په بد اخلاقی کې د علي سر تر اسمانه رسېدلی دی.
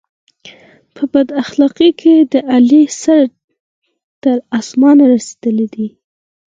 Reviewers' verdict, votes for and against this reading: accepted, 4, 0